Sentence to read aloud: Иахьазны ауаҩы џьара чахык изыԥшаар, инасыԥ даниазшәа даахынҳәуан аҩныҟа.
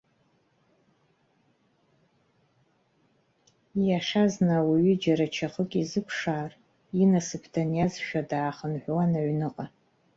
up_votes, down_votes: 1, 2